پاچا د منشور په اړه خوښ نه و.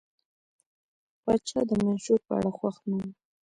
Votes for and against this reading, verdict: 2, 0, accepted